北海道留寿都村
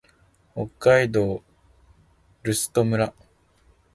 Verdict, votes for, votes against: rejected, 1, 2